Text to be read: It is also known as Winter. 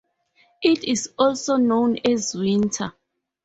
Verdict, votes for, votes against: accepted, 4, 0